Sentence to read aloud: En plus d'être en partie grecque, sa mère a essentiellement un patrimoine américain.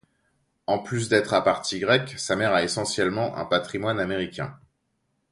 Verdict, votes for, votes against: rejected, 0, 2